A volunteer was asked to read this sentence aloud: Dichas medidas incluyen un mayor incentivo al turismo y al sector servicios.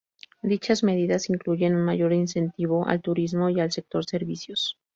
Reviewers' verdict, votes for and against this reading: accepted, 2, 0